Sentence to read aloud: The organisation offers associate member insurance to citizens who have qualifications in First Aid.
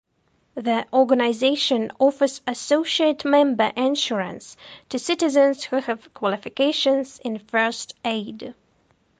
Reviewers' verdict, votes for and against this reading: accepted, 2, 0